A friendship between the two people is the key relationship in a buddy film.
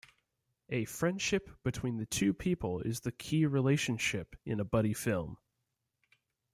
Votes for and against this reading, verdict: 2, 0, accepted